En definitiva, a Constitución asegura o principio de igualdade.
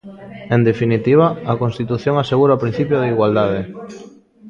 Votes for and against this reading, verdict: 1, 2, rejected